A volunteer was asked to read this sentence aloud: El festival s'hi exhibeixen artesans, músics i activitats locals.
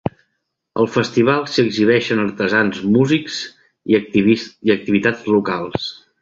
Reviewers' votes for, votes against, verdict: 0, 2, rejected